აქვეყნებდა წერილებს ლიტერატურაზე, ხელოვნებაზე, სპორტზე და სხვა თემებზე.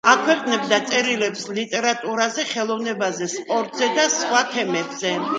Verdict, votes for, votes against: accepted, 2, 0